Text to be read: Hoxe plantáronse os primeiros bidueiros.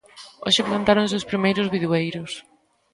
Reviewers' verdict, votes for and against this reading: rejected, 1, 2